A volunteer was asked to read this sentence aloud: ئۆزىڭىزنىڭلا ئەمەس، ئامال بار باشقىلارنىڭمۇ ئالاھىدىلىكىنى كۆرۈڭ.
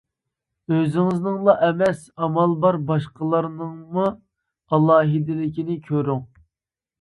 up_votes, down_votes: 2, 0